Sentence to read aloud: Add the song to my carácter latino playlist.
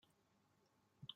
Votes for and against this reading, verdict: 0, 2, rejected